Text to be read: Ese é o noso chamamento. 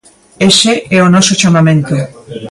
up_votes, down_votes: 2, 0